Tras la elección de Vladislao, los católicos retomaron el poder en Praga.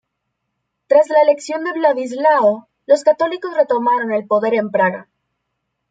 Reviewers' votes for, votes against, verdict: 2, 0, accepted